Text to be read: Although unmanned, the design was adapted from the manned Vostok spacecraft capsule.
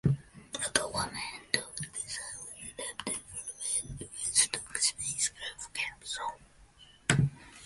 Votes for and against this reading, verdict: 1, 2, rejected